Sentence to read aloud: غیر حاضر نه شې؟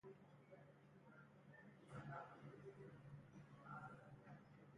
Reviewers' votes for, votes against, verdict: 0, 2, rejected